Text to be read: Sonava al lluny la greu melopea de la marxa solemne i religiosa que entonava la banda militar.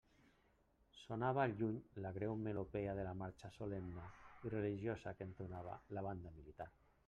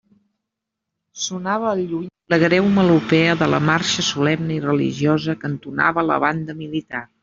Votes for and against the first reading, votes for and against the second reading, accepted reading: 2, 0, 1, 2, first